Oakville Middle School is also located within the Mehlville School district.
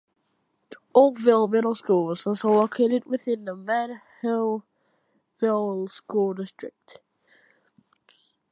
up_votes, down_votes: 1, 2